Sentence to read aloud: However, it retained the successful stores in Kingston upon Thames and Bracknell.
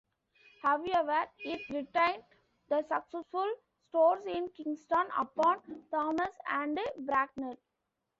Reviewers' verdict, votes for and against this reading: rejected, 0, 2